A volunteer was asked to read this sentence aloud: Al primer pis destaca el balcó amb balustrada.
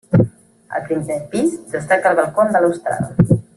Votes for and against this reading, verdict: 1, 2, rejected